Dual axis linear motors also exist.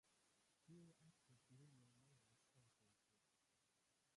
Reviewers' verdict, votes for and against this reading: rejected, 0, 2